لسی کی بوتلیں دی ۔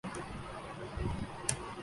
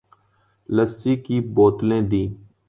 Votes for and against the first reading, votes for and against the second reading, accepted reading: 0, 2, 2, 0, second